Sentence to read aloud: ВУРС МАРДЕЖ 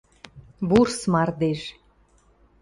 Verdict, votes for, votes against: accepted, 2, 0